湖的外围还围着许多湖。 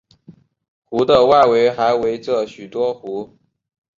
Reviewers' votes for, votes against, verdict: 2, 0, accepted